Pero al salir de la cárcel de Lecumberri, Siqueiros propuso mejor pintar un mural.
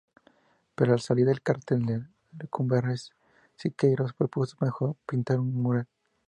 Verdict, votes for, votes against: rejected, 0, 2